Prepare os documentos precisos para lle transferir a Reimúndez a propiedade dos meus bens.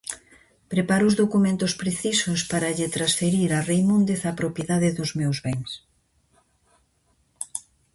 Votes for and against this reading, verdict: 2, 0, accepted